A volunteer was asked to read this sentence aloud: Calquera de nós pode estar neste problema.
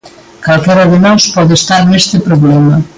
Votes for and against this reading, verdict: 2, 1, accepted